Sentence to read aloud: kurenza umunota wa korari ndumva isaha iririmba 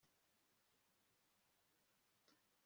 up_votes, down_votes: 1, 2